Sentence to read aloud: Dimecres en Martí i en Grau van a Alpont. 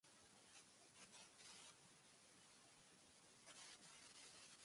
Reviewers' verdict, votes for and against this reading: rejected, 0, 2